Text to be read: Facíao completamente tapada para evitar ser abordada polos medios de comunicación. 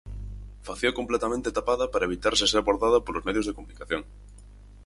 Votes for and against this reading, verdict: 0, 4, rejected